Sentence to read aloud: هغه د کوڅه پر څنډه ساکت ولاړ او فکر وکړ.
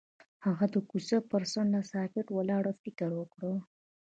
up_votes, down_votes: 0, 2